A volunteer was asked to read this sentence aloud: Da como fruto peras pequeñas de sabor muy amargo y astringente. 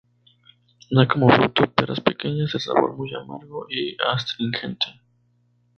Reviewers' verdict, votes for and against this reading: accepted, 2, 0